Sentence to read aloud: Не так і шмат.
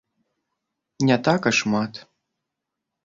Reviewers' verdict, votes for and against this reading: accepted, 2, 0